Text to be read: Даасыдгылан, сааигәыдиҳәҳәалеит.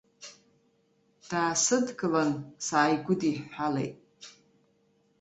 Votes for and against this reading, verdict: 2, 0, accepted